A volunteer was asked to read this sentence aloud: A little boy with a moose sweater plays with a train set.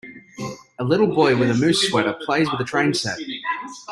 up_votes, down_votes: 2, 0